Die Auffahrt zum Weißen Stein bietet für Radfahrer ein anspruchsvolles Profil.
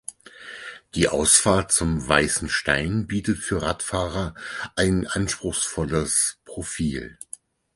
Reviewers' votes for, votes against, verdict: 0, 6, rejected